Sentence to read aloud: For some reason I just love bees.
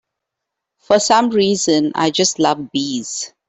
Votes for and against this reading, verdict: 3, 0, accepted